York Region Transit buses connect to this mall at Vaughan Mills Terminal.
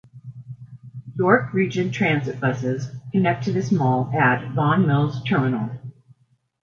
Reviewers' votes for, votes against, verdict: 2, 0, accepted